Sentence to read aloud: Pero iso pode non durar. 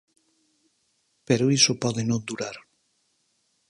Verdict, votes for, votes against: accepted, 4, 0